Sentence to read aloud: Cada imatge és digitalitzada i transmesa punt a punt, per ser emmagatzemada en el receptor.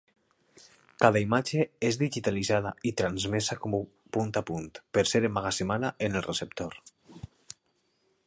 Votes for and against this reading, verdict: 2, 1, accepted